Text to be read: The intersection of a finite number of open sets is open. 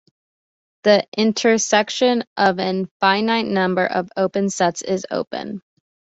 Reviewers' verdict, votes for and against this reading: rejected, 1, 2